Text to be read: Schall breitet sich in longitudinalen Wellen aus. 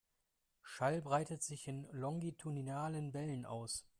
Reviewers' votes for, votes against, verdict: 2, 0, accepted